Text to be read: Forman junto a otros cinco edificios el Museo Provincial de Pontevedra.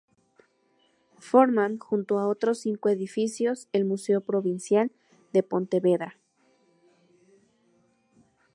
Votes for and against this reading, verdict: 4, 0, accepted